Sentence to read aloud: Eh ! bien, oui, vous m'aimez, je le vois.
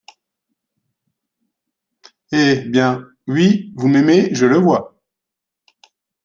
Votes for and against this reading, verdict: 1, 2, rejected